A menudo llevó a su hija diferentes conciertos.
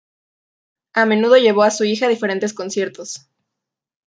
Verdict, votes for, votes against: rejected, 1, 2